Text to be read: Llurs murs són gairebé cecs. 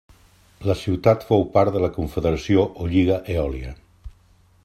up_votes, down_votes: 0, 2